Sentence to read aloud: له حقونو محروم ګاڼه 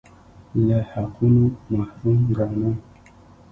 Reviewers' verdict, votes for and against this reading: accepted, 2, 1